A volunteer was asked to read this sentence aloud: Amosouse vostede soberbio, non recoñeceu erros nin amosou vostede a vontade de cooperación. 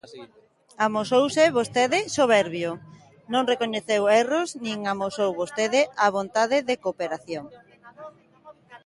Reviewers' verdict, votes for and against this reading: accepted, 2, 1